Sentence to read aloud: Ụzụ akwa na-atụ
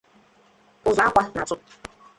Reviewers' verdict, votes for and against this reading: rejected, 0, 2